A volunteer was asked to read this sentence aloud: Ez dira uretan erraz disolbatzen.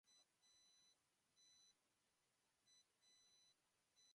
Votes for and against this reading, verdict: 0, 2, rejected